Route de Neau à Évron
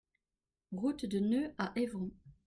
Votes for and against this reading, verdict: 1, 2, rejected